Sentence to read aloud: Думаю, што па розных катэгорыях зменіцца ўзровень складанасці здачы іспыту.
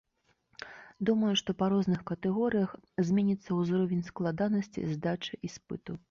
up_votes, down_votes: 2, 0